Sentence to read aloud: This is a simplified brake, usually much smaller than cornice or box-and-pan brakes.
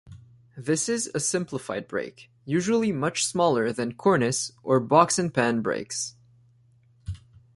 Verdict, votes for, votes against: accepted, 2, 0